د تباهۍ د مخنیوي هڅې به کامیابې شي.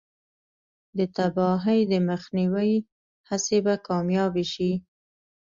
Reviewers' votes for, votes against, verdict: 2, 1, accepted